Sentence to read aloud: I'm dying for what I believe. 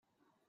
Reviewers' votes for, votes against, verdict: 0, 2, rejected